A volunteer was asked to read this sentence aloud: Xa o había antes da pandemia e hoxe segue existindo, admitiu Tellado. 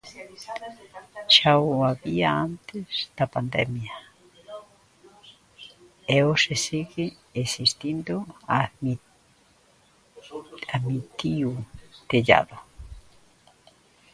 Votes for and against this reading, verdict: 0, 2, rejected